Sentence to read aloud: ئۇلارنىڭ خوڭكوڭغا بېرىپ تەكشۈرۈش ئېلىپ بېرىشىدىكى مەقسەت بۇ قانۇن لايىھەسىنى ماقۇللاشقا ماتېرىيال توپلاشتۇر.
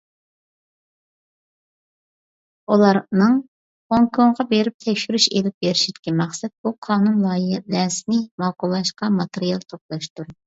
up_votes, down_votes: 0, 2